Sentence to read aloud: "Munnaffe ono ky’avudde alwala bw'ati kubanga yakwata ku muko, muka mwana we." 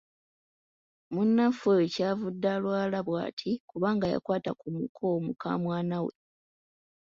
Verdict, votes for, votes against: rejected, 1, 2